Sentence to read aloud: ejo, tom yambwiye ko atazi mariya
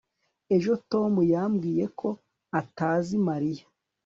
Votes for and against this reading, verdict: 2, 0, accepted